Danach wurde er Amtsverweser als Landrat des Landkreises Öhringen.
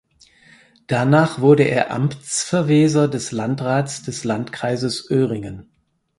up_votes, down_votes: 2, 4